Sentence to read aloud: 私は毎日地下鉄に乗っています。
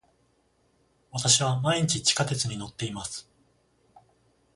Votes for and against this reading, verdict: 14, 0, accepted